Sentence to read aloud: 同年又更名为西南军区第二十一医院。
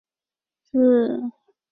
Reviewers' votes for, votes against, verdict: 1, 6, rejected